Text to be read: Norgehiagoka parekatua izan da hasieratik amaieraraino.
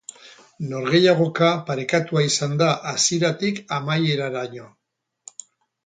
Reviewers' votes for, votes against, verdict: 4, 0, accepted